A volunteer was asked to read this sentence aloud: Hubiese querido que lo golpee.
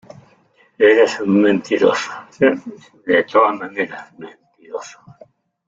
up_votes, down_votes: 0, 2